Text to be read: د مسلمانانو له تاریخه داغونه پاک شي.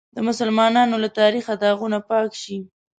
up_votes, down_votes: 2, 0